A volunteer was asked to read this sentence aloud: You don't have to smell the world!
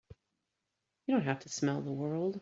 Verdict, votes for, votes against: accepted, 2, 1